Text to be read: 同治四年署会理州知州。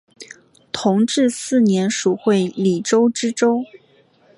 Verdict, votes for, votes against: accepted, 2, 0